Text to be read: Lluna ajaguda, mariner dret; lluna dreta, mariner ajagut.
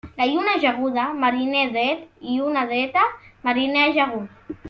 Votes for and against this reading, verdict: 0, 2, rejected